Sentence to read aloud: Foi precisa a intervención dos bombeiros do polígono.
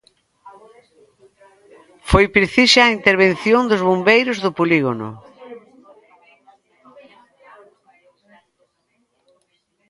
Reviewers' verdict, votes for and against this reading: accepted, 2, 0